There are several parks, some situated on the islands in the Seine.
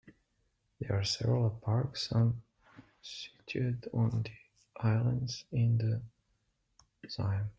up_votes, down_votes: 0, 2